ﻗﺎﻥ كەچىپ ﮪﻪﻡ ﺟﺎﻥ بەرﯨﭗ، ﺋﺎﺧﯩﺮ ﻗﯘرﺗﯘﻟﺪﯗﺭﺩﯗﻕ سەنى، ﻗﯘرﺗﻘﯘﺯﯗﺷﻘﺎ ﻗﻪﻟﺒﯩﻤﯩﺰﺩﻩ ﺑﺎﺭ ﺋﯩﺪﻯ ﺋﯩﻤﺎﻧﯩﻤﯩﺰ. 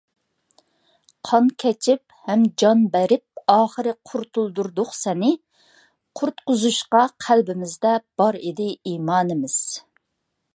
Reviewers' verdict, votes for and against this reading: accepted, 2, 1